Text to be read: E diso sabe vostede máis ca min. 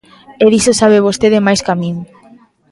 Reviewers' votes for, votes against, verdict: 2, 0, accepted